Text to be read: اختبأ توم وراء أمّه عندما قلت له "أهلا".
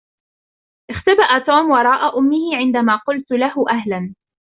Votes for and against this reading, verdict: 0, 2, rejected